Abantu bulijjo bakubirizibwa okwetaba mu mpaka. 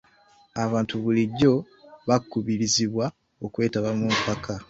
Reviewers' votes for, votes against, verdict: 2, 1, accepted